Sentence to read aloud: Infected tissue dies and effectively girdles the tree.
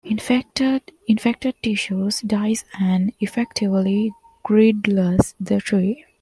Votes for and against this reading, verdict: 0, 2, rejected